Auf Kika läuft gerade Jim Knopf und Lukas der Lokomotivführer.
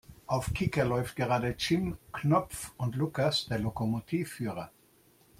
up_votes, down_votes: 2, 0